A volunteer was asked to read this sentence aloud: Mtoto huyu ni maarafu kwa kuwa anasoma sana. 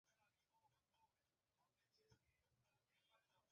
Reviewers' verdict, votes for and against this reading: rejected, 0, 2